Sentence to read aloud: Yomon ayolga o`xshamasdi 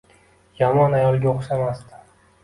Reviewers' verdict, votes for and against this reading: accepted, 2, 0